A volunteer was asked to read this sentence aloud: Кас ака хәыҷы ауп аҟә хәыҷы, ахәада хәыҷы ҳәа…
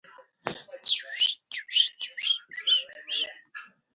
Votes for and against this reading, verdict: 1, 3, rejected